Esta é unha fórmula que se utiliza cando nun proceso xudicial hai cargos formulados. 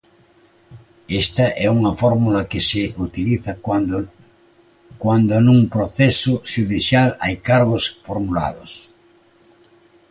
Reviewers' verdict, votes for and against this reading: rejected, 0, 2